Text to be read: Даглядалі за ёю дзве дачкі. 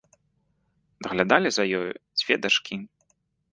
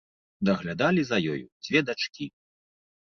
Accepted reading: first